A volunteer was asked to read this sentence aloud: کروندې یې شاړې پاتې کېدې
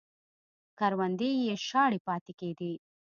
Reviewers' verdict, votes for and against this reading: accepted, 2, 0